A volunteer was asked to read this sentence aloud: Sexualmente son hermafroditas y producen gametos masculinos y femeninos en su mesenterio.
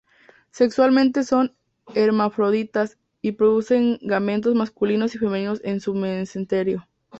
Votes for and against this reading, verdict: 0, 2, rejected